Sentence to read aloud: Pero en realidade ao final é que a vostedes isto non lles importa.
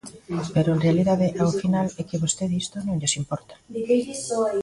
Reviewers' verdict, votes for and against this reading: rejected, 1, 2